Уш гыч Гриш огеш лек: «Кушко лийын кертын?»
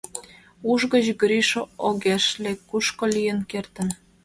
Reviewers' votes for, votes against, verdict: 2, 0, accepted